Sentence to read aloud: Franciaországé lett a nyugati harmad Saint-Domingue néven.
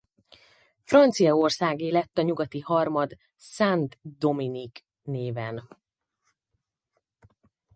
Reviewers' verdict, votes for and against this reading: rejected, 2, 4